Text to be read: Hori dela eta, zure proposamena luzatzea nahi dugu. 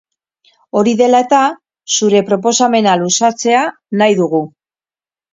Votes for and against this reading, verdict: 2, 2, rejected